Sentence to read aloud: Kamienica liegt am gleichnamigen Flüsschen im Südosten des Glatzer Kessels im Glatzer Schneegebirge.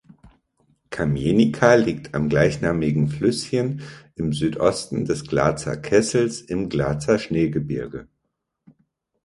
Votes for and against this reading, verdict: 2, 0, accepted